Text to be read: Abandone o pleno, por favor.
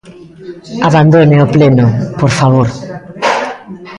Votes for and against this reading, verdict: 2, 0, accepted